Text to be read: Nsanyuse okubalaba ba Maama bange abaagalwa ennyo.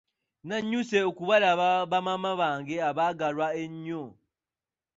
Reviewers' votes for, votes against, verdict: 1, 2, rejected